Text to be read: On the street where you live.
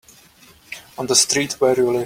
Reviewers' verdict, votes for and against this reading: rejected, 1, 2